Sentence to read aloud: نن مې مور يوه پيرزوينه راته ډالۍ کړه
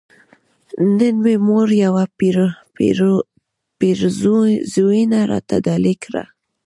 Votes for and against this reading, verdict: 1, 2, rejected